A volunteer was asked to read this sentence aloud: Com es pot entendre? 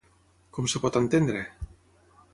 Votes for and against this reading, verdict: 6, 3, accepted